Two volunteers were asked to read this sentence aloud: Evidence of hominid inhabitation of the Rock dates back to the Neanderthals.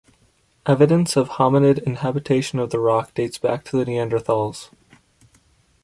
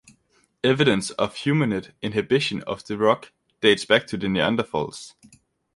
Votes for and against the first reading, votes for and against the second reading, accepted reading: 2, 0, 0, 2, first